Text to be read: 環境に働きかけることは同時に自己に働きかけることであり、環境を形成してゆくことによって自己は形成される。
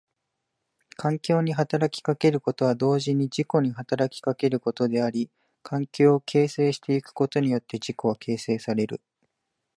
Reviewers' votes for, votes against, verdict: 2, 0, accepted